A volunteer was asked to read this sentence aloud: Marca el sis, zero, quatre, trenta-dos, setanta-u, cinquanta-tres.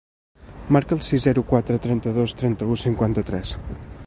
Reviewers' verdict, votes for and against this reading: rejected, 1, 2